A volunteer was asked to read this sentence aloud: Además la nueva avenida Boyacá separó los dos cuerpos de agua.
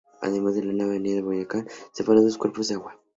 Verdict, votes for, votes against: rejected, 0, 2